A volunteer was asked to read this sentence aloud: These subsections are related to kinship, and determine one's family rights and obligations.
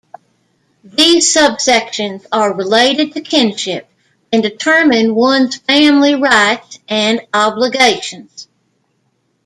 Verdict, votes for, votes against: accepted, 2, 0